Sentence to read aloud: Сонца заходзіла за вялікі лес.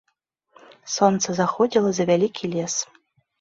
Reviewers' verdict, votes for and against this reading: accepted, 2, 0